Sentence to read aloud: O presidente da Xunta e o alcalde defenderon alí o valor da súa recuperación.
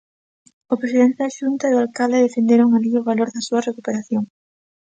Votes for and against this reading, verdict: 2, 0, accepted